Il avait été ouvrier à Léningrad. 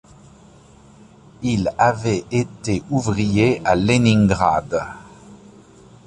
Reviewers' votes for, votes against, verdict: 2, 0, accepted